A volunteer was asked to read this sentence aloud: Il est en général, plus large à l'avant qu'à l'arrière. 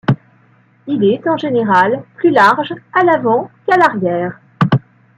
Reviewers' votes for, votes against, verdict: 1, 2, rejected